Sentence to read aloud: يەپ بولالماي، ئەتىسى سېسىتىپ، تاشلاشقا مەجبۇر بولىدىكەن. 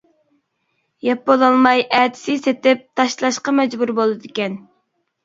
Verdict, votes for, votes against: rejected, 0, 2